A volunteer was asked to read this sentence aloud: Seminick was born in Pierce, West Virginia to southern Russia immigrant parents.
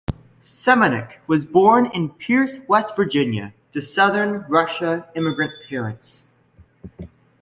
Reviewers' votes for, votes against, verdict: 2, 0, accepted